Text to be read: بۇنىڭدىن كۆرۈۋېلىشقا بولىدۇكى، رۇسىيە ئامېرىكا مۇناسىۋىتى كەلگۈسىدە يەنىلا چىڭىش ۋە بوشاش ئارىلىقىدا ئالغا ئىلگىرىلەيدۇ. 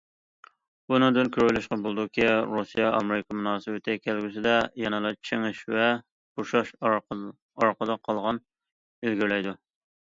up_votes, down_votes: 0, 2